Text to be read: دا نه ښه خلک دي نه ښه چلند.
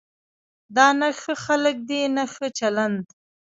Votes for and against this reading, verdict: 0, 2, rejected